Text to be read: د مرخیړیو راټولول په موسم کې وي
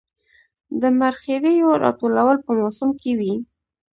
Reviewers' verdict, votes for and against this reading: accepted, 2, 0